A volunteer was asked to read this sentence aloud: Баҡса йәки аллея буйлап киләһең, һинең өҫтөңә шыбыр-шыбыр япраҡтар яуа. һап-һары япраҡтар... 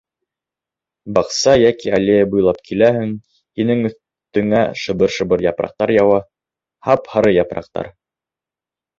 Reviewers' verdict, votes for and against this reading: accepted, 2, 1